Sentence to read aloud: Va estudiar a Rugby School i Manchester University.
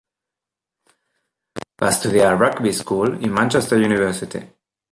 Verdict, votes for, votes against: accepted, 3, 0